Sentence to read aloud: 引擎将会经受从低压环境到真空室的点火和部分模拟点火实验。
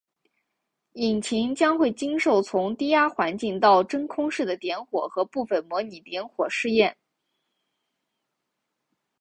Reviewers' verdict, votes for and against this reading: accepted, 2, 0